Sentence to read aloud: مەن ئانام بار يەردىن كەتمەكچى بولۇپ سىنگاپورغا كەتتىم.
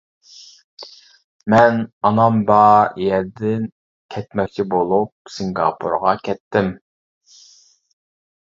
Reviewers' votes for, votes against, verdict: 1, 2, rejected